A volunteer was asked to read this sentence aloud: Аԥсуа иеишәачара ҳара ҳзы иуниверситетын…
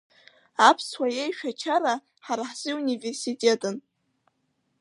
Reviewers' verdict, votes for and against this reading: accepted, 2, 0